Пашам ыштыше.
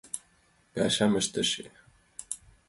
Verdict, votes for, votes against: accepted, 2, 0